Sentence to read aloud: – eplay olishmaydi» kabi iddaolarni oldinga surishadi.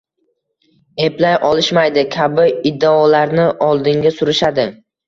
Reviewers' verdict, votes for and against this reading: accepted, 2, 1